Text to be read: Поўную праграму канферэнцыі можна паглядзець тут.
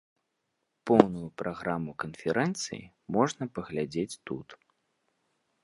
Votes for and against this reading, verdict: 2, 0, accepted